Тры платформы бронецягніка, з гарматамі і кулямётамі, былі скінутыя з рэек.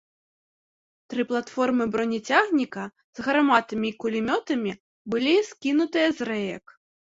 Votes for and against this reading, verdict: 1, 2, rejected